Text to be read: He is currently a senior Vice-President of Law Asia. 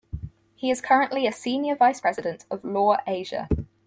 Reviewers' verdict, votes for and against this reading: accepted, 4, 0